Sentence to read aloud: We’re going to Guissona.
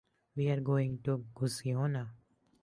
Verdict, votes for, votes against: rejected, 0, 2